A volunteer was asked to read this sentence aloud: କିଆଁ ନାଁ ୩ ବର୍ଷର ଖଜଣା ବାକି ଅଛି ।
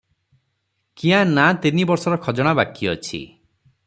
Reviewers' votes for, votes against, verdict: 0, 2, rejected